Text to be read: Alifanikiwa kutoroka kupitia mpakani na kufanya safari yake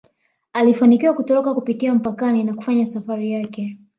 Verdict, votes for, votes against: accepted, 2, 0